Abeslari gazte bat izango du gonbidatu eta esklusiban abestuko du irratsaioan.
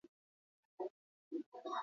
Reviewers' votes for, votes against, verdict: 0, 2, rejected